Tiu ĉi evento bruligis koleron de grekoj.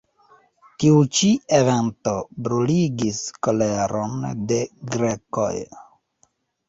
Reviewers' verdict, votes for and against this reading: accepted, 2, 0